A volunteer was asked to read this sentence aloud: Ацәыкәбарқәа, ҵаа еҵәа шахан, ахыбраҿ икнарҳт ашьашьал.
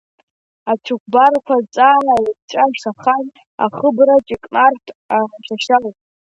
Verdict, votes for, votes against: rejected, 0, 2